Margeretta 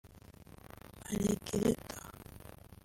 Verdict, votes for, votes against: rejected, 1, 2